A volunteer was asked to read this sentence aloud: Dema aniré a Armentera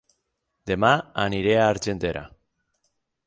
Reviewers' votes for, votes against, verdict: 0, 6, rejected